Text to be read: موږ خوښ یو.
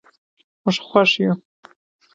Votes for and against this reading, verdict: 2, 0, accepted